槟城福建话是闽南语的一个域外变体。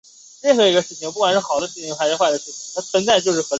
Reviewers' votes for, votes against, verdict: 0, 3, rejected